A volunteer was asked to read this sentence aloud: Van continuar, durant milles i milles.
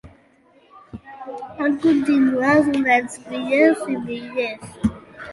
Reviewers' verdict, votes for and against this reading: rejected, 0, 2